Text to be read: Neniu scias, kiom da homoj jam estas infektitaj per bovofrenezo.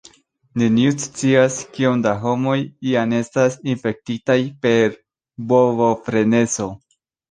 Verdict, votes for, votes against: accepted, 2, 0